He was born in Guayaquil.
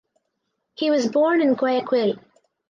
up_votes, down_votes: 4, 0